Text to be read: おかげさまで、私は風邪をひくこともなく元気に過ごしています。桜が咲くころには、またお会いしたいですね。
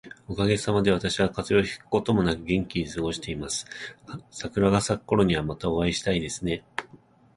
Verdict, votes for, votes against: accepted, 2, 1